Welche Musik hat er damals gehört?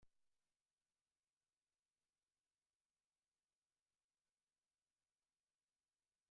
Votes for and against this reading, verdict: 0, 2, rejected